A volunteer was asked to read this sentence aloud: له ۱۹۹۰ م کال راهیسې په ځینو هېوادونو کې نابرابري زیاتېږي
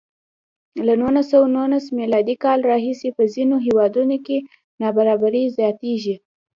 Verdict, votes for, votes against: rejected, 0, 2